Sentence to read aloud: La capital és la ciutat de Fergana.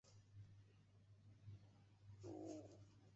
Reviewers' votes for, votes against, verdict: 0, 3, rejected